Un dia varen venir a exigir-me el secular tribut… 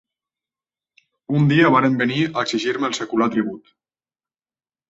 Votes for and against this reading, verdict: 2, 0, accepted